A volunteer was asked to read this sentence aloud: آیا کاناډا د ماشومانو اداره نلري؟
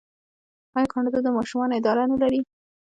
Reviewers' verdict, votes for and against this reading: accepted, 2, 1